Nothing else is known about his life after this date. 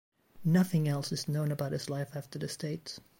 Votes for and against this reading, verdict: 2, 0, accepted